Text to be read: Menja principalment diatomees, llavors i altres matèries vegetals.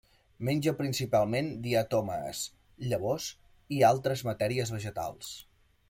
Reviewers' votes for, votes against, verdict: 1, 2, rejected